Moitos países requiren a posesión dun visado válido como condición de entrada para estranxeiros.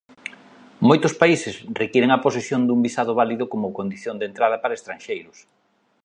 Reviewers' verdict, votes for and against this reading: accepted, 3, 0